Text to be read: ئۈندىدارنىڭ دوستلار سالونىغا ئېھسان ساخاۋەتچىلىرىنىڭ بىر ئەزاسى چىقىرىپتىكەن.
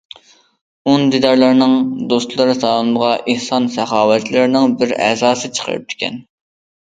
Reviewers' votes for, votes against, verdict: 0, 2, rejected